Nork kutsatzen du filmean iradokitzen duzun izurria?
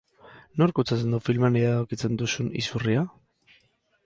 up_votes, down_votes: 2, 4